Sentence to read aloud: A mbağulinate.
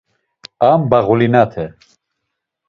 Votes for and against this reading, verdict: 2, 0, accepted